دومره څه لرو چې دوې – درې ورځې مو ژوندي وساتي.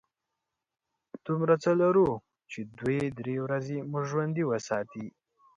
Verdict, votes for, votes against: accepted, 2, 0